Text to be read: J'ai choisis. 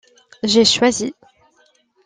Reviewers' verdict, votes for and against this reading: accepted, 2, 0